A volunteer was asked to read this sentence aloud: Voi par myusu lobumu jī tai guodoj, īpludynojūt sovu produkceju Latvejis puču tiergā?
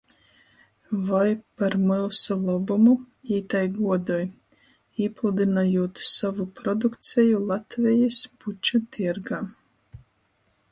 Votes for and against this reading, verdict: 2, 0, accepted